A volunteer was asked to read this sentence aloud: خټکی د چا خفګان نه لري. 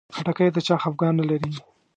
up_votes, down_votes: 2, 1